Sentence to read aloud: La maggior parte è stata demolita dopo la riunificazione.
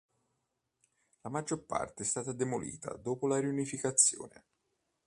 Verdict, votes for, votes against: accepted, 2, 0